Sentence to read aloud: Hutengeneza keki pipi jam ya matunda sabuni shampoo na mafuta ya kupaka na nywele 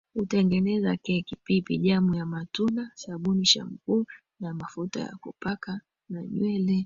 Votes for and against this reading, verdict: 2, 0, accepted